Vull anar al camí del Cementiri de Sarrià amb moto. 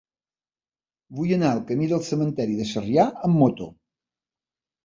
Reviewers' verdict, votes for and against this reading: rejected, 1, 2